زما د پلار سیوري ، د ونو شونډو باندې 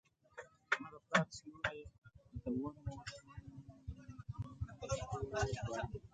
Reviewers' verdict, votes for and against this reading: rejected, 0, 2